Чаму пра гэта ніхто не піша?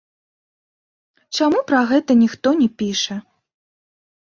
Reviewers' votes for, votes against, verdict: 1, 2, rejected